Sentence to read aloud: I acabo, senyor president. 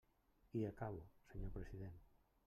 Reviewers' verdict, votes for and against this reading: rejected, 0, 2